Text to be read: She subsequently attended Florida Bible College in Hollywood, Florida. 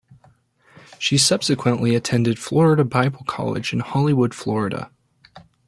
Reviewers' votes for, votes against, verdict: 2, 0, accepted